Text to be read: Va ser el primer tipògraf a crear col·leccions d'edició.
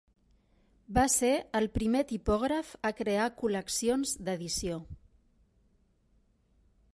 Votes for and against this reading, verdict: 3, 0, accepted